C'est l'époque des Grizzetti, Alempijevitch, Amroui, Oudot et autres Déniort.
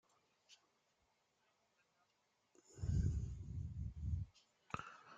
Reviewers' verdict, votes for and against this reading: rejected, 0, 2